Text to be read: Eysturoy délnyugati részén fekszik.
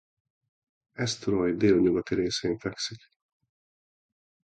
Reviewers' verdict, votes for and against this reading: accepted, 2, 0